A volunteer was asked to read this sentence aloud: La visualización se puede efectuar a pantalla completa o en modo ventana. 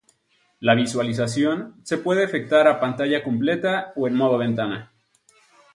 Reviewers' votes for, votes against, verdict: 0, 2, rejected